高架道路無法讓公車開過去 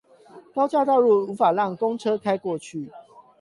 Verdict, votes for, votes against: rejected, 4, 8